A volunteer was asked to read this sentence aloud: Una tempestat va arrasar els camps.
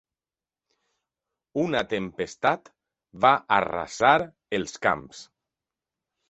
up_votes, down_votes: 4, 0